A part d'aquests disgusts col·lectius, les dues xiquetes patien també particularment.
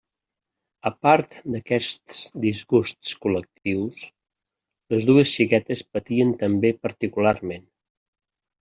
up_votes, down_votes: 1, 2